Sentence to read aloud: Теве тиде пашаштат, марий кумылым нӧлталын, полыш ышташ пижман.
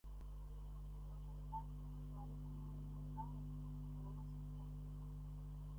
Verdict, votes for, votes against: rejected, 0, 2